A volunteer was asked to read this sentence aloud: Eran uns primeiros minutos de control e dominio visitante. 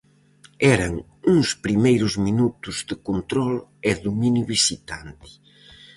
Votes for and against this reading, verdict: 4, 0, accepted